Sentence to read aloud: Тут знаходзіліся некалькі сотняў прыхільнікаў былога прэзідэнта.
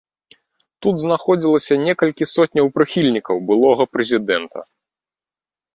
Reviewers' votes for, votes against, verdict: 0, 2, rejected